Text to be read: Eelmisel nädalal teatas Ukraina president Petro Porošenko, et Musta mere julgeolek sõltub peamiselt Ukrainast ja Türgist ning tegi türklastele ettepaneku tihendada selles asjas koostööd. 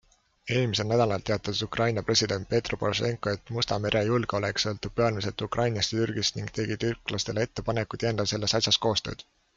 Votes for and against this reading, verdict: 3, 0, accepted